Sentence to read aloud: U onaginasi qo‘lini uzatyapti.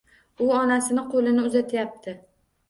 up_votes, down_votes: 1, 2